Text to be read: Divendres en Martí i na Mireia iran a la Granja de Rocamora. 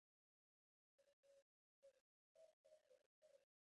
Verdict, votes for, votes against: rejected, 0, 2